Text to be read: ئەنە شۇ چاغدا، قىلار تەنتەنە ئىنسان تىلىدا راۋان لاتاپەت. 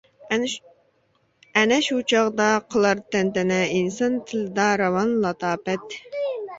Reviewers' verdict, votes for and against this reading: rejected, 0, 2